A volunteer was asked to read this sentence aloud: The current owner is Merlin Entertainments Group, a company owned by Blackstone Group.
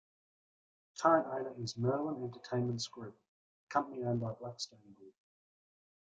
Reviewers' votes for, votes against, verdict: 1, 2, rejected